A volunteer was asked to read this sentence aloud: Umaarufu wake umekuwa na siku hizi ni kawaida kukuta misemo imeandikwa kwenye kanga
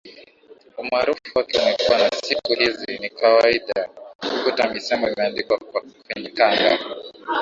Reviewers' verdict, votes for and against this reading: rejected, 0, 3